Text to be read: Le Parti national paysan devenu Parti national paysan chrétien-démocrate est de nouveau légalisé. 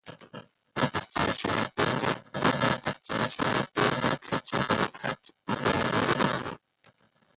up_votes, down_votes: 0, 2